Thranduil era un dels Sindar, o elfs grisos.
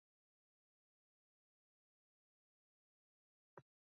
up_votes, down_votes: 0, 2